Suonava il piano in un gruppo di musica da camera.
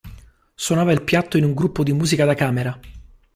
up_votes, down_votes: 0, 2